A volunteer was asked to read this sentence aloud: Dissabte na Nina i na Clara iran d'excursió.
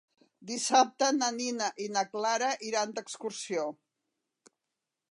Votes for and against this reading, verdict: 3, 0, accepted